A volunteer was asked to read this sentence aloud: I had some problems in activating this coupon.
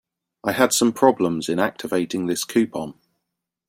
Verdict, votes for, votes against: accepted, 2, 0